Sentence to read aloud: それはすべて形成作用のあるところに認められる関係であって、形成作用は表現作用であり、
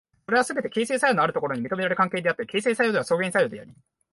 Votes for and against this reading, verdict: 0, 6, rejected